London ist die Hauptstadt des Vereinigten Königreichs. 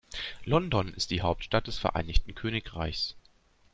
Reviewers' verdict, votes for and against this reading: accepted, 2, 0